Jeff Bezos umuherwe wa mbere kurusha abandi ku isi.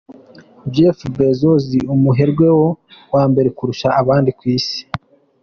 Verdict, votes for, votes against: accepted, 2, 1